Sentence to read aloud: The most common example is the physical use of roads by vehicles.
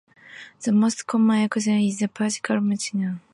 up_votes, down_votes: 0, 2